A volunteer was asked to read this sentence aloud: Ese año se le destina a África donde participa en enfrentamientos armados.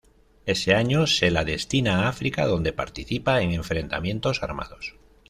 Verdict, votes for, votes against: accepted, 2, 1